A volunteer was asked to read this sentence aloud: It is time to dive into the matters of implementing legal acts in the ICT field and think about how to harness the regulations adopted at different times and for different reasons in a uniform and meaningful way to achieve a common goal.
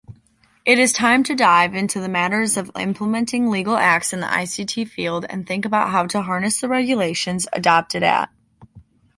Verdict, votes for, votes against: rejected, 1, 2